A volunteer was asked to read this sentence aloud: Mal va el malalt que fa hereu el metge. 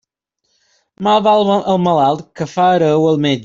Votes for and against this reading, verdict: 1, 2, rejected